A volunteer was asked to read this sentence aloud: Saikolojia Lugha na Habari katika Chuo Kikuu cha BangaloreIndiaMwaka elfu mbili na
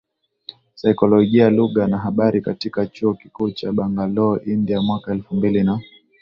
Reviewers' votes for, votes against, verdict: 15, 1, accepted